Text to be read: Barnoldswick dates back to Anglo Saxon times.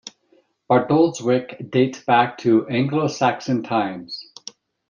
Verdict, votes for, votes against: rejected, 1, 2